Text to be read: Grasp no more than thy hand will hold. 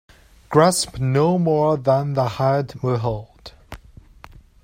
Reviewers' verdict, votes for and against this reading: rejected, 1, 2